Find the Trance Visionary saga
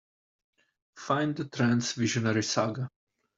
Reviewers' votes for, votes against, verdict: 2, 0, accepted